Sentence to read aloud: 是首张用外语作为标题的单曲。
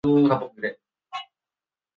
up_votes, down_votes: 1, 5